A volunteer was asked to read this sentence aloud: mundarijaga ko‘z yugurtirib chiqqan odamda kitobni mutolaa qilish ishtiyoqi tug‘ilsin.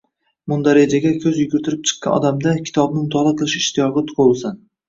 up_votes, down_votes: 2, 1